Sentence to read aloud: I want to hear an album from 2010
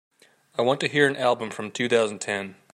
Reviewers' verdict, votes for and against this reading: rejected, 0, 2